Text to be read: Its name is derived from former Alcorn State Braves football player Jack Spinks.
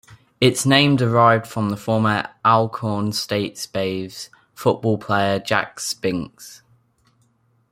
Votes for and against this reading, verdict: 1, 2, rejected